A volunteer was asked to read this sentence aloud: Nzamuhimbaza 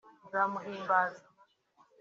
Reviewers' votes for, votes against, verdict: 3, 0, accepted